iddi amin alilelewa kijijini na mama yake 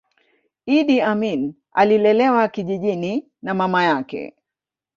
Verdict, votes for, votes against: accepted, 2, 0